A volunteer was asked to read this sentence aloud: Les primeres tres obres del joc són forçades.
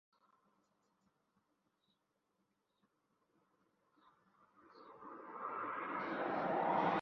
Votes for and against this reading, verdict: 0, 2, rejected